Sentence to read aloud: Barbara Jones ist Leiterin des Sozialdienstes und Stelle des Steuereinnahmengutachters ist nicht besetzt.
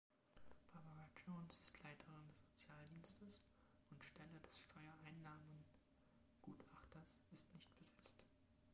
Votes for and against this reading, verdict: 0, 2, rejected